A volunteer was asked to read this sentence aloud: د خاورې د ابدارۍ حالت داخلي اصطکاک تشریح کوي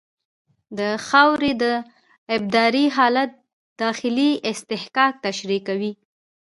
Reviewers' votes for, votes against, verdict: 1, 2, rejected